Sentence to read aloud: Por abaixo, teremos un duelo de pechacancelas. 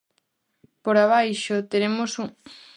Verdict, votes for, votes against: rejected, 0, 2